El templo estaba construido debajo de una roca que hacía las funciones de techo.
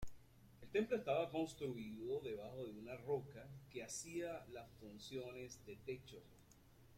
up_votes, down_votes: 2, 0